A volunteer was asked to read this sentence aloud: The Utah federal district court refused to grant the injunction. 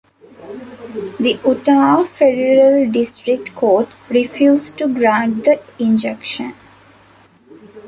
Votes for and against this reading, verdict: 1, 2, rejected